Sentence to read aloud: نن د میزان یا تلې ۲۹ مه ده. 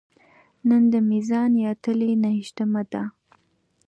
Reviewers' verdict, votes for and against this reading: rejected, 0, 2